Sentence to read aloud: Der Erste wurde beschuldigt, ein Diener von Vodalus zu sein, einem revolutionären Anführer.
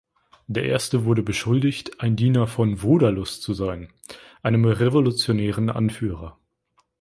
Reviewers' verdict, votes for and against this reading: accepted, 2, 0